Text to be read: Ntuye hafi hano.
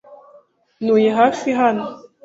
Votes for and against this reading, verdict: 2, 0, accepted